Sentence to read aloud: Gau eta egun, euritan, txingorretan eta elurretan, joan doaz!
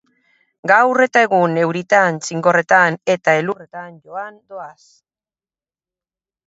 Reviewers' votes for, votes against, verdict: 2, 2, rejected